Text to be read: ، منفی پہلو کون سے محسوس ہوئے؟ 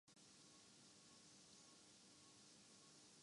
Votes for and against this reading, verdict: 0, 2, rejected